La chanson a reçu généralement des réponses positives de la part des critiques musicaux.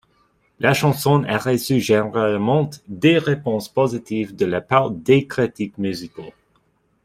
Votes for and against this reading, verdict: 0, 2, rejected